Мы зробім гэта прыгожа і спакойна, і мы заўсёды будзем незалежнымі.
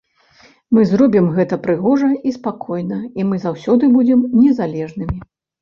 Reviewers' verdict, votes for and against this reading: rejected, 0, 2